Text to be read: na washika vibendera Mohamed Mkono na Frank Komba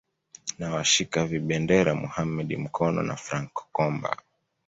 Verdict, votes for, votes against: accepted, 2, 0